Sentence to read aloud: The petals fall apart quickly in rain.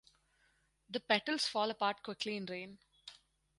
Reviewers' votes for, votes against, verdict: 4, 0, accepted